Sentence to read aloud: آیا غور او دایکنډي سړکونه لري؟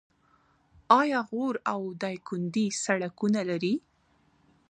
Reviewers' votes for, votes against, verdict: 2, 1, accepted